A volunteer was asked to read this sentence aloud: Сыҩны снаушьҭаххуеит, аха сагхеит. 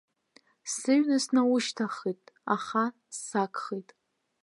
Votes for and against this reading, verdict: 2, 0, accepted